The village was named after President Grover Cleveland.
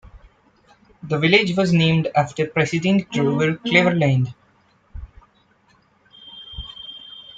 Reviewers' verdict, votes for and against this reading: rejected, 1, 2